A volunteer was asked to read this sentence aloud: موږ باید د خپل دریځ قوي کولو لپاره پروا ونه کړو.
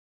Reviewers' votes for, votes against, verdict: 0, 2, rejected